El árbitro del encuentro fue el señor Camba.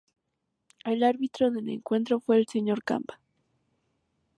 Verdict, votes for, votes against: accepted, 2, 0